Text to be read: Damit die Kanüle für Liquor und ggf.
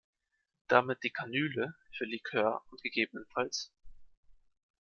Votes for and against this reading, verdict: 1, 2, rejected